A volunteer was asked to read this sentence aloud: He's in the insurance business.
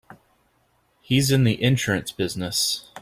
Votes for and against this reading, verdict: 2, 0, accepted